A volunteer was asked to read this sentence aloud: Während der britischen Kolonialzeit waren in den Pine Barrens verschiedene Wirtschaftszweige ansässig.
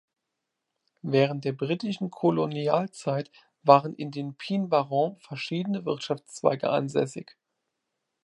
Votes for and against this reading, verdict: 0, 2, rejected